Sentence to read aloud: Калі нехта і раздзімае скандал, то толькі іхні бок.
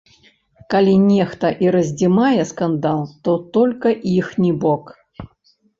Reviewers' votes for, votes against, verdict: 0, 2, rejected